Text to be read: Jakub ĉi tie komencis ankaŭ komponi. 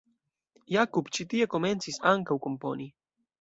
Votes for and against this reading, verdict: 2, 0, accepted